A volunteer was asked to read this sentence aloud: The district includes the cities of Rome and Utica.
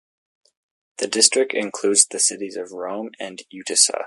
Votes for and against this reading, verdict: 2, 4, rejected